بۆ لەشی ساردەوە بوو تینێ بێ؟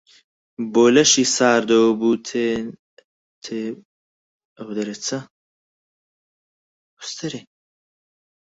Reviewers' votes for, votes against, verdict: 2, 4, rejected